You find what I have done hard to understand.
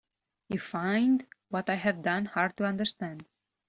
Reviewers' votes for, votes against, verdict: 2, 0, accepted